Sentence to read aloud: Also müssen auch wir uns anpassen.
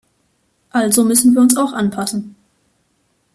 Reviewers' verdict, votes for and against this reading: rejected, 1, 2